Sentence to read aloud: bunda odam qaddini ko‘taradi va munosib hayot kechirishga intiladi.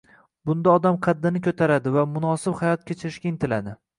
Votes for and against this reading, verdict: 2, 1, accepted